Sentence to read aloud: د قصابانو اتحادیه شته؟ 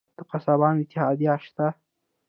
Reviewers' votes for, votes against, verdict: 1, 2, rejected